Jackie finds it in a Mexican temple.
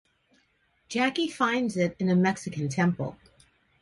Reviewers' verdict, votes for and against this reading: accepted, 2, 0